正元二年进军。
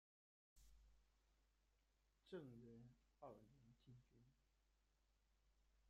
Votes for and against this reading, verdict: 0, 2, rejected